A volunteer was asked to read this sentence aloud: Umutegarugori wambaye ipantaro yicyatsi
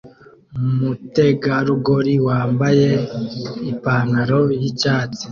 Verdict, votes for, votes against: accepted, 2, 0